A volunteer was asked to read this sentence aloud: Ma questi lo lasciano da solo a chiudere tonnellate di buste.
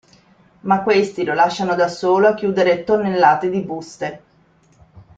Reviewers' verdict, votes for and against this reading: accepted, 2, 1